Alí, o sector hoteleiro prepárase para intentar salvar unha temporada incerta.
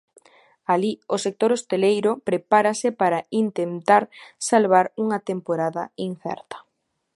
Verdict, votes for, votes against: rejected, 0, 2